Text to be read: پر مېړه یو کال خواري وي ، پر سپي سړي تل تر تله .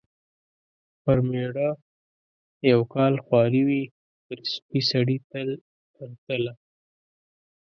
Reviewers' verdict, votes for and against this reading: accepted, 2, 1